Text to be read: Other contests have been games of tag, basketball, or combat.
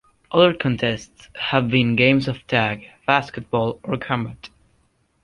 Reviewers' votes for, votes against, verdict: 0, 2, rejected